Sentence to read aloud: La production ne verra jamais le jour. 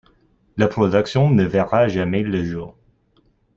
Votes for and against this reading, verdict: 2, 1, accepted